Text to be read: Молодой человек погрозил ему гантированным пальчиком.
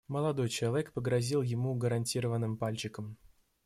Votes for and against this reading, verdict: 0, 2, rejected